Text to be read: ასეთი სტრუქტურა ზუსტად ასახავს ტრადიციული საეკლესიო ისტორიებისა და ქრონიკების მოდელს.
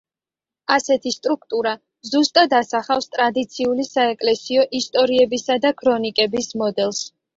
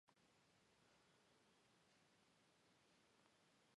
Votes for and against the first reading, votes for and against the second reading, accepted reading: 2, 0, 1, 2, first